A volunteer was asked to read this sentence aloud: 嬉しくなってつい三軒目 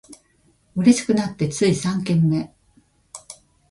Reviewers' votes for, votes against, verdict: 2, 0, accepted